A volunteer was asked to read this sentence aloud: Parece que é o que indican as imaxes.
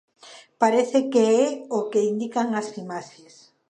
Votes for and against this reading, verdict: 2, 0, accepted